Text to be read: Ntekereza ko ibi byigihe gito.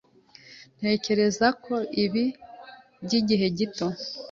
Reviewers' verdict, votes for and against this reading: accepted, 2, 0